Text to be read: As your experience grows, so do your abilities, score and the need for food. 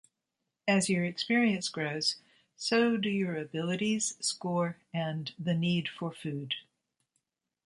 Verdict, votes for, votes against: accepted, 2, 0